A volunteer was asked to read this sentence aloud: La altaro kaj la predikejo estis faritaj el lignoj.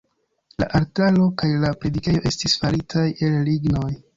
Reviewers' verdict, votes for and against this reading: rejected, 1, 2